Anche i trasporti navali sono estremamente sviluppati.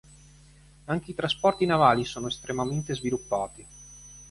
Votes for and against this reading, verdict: 3, 0, accepted